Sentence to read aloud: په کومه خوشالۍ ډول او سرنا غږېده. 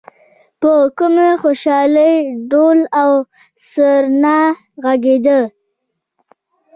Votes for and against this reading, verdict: 1, 2, rejected